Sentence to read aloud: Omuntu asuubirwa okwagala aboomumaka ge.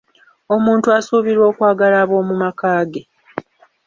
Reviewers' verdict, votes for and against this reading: accepted, 2, 0